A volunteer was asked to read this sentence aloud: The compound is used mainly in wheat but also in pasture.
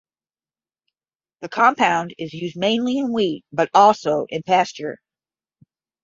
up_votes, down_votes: 10, 0